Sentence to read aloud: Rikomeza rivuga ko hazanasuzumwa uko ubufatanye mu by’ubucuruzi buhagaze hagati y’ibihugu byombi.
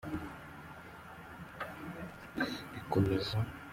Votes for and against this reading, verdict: 0, 2, rejected